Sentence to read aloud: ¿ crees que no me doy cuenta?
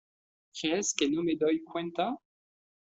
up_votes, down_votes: 0, 2